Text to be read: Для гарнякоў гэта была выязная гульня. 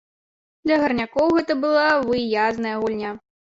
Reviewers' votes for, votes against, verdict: 0, 2, rejected